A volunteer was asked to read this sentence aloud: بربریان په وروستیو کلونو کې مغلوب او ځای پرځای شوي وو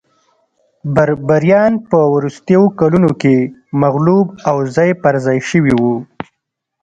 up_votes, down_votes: 1, 2